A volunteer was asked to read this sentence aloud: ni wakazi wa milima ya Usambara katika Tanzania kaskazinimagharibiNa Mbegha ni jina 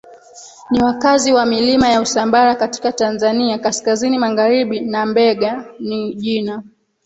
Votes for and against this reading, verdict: 0, 2, rejected